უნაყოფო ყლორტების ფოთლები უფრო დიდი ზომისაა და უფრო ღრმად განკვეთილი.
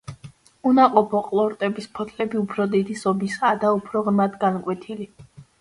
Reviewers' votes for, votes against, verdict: 2, 0, accepted